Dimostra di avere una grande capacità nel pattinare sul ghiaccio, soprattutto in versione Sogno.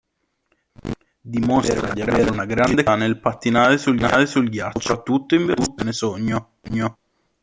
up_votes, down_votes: 0, 3